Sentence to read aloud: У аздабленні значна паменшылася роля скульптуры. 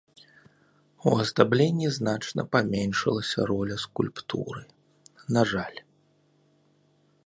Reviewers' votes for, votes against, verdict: 0, 2, rejected